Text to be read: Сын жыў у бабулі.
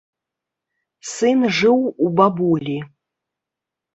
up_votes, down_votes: 3, 0